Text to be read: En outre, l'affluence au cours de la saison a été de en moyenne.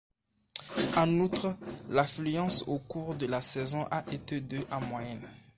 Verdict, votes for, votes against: accepted, 2, 1